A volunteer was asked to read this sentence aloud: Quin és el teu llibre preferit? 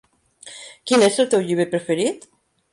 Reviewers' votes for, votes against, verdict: 3, 0, accepted